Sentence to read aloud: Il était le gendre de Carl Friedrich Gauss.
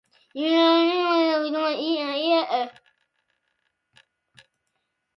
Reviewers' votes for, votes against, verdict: 0, 2, rejected